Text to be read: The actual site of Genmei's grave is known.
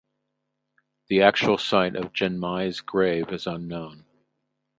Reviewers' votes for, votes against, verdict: 0, 4, rejected